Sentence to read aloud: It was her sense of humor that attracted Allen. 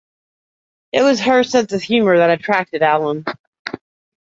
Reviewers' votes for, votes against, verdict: 2, 0, accepted